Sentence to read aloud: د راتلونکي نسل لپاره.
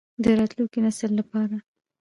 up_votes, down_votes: 2, 1